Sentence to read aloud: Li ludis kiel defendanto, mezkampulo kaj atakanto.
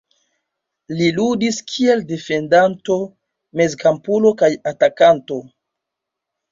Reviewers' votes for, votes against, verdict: 2, 0, accepted